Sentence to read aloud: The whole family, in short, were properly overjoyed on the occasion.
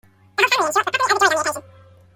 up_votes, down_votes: 0, 2